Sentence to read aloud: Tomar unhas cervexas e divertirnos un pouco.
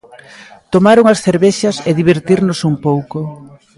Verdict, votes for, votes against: accepted, 2, 0